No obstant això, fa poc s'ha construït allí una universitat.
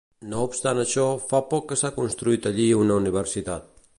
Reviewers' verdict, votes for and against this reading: rejected, 1, 3